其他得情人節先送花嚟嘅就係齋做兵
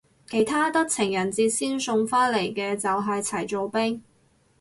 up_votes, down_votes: 0, 4